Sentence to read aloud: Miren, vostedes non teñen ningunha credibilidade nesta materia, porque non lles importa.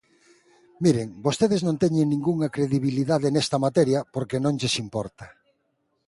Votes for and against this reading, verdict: 2, 0, accepted